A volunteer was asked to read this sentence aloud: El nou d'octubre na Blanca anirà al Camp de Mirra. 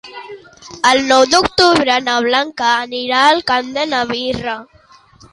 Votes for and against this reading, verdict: 0, 3, rejected